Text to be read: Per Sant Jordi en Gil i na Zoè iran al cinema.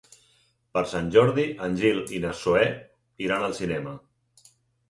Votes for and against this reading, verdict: 6, 0, accepted